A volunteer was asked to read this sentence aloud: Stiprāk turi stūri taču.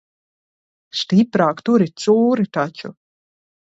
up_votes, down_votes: 1, 2